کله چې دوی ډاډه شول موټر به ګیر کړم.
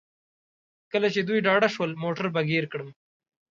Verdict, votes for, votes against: accepted, 2, 0